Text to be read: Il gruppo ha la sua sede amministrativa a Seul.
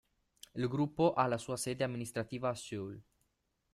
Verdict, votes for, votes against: accepted, 2, 0